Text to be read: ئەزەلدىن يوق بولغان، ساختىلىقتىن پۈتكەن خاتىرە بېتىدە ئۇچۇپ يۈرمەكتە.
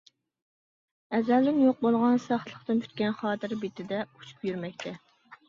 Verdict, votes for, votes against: accepted, 2, 0